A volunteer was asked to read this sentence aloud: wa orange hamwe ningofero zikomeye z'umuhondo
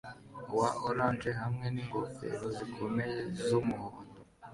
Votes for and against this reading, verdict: 2, 0, accepted